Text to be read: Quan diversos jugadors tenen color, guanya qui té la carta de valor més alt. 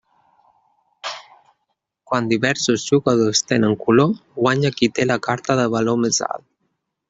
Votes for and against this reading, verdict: 3, 0, accepted